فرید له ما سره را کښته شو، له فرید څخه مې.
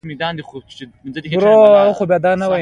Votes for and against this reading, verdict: 1, 2, rejected